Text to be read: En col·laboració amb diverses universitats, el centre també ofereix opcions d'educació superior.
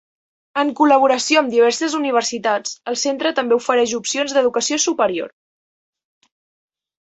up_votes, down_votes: 2, 0